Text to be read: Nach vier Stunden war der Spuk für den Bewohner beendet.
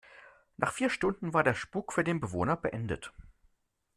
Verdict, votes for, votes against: accepted, 2, 0